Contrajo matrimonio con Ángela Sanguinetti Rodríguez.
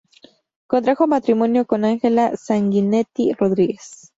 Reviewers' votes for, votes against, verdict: 4, 0, accepted